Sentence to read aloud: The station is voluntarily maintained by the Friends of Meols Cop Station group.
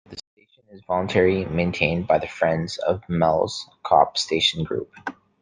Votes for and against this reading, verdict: 0, 2, rejected